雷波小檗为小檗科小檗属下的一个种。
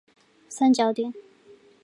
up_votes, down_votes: 1, 4